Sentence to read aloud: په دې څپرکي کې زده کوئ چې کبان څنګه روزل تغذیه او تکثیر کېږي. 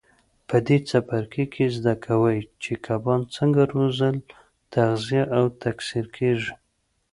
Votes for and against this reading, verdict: 2, 0, accepted